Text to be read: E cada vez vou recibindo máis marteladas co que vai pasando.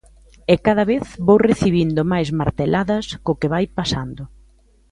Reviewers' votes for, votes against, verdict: 3, 0, accepted